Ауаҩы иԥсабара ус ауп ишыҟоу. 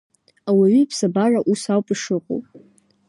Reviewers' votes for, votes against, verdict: 2, 0, accepted